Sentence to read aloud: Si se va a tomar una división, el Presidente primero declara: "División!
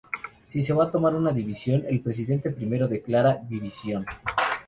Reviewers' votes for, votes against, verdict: 2, 0, accepted